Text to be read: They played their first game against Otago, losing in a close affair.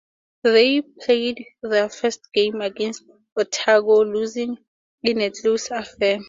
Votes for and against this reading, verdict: 2, 0, accepted